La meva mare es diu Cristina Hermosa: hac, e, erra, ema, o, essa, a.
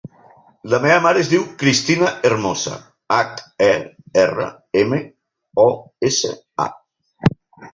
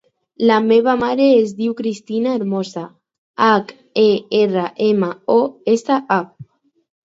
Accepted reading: second